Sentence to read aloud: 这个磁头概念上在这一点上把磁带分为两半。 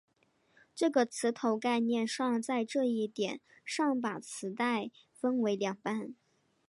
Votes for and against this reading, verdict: 6, 0, accepted